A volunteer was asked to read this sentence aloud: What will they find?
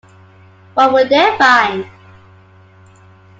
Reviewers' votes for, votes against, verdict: 2, 1, accepted